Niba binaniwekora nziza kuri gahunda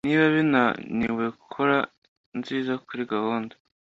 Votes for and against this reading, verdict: 2, 0, accepted